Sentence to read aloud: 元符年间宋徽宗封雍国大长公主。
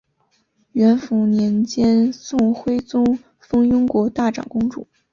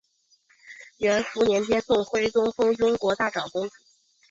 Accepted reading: first